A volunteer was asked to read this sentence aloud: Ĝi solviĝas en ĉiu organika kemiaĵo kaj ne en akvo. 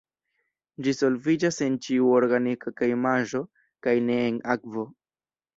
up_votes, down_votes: 0, 2